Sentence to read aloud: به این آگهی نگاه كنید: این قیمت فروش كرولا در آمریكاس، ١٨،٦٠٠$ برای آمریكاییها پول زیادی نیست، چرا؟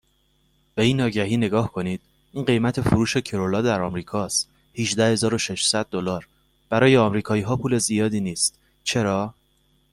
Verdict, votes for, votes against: rejected, 0, 2